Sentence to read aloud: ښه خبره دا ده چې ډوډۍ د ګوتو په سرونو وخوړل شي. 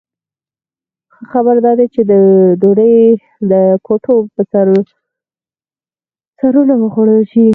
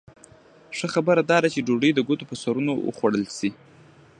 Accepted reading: second